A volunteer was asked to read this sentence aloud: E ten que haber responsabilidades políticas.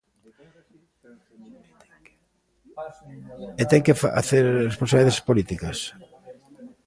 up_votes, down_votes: 1, 3